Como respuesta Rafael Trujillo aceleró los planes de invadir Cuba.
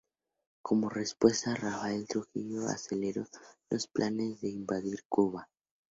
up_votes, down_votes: 2, 0